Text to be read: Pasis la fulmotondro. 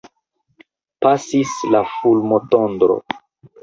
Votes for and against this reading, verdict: 2, 1, accepted